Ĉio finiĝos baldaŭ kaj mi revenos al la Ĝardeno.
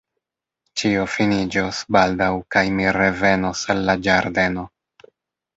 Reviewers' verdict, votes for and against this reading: rejected, 1, 2